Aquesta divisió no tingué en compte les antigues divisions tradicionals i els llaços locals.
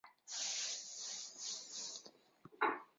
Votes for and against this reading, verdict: 0, 2, rejected